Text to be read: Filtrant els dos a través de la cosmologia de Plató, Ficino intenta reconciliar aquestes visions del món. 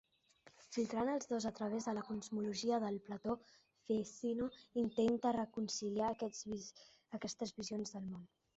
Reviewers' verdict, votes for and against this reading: rejected, 0, 2